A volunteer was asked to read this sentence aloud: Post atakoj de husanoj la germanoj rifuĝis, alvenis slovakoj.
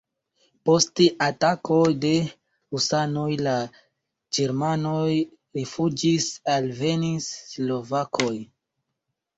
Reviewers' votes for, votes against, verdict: 1, 2, rejected